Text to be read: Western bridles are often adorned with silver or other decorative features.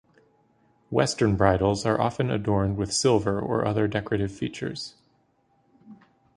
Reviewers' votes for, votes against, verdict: 2, 0, accepted